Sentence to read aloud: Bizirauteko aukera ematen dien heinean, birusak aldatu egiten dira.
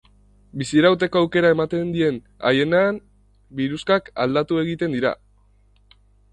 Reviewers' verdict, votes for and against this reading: rejected, 1, 3